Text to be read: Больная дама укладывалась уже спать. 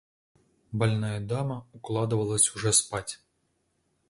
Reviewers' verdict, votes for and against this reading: accepted, 2, 0